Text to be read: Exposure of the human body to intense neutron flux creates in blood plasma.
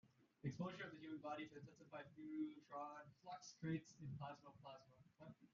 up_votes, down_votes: 0, 2